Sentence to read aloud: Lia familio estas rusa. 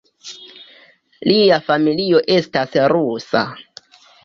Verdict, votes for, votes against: accepted, 2, 0